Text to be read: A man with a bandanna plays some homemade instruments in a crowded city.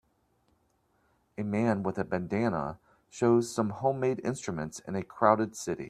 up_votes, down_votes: 0, 2